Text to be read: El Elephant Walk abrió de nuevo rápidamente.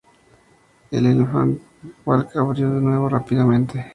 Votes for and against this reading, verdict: 2, 0, accepted